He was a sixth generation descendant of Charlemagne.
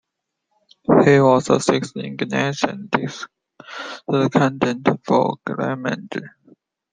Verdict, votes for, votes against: rejected, 0, 2